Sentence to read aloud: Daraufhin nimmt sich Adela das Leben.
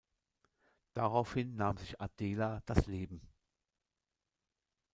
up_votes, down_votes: 0, 2